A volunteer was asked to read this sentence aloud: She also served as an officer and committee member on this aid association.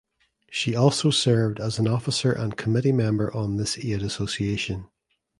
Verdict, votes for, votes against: accepted, 2, 1